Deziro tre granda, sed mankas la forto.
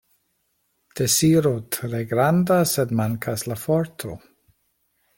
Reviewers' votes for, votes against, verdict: 2, 0, accepted